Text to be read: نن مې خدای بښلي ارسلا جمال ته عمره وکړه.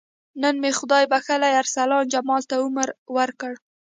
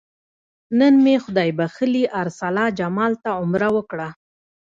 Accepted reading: second